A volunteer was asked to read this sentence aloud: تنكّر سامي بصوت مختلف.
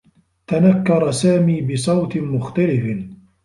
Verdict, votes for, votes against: rejected, 2, 3